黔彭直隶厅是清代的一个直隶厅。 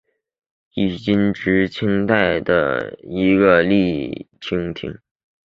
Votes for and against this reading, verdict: 4, 1, accepted